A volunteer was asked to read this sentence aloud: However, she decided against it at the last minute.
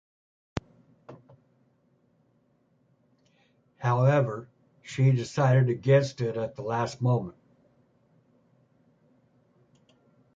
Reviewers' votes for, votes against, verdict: 1, 2, rejected